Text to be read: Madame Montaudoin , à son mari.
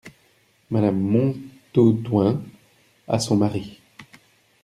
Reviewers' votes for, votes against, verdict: 0, 2, rejected